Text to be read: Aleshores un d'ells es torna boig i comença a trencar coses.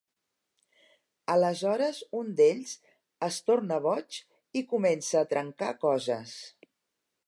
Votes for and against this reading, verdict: 3, 0, accepted